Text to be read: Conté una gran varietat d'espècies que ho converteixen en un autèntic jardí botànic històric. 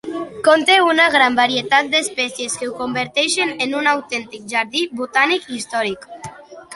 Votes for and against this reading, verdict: 2, 0, accepted